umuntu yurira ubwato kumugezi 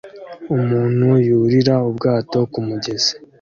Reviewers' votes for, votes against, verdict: 2, 0, accepted